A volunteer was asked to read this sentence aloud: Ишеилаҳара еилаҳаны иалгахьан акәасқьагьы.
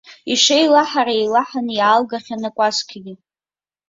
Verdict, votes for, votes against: accepted, 2, 0